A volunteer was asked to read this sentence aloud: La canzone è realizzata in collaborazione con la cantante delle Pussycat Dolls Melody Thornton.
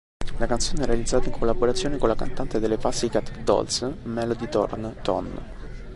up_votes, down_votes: 1, 2